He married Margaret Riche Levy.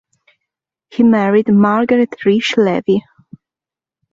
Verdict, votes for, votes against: accepted, 2, 0